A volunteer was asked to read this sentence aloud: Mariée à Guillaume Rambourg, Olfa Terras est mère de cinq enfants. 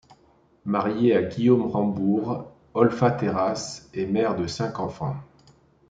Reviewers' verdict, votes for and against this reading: accepted, 2, 0